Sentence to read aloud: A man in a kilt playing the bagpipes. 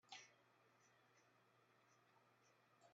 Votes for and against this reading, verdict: 0, 2, rejected